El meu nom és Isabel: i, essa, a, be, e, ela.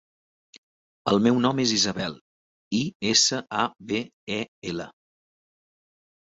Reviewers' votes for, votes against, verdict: 3, 0, accepted